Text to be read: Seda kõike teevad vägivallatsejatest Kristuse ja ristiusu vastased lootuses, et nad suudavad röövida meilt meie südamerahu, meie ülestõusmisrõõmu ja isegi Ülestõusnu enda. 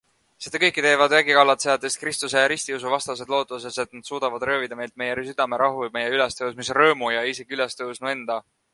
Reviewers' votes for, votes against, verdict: 2, 1, accepted